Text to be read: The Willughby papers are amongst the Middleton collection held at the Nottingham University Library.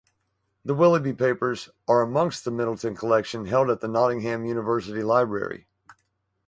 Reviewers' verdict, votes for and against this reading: accepted, 4, 0